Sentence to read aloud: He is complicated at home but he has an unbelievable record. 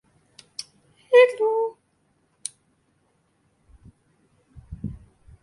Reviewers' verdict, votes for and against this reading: rejected, 0, 2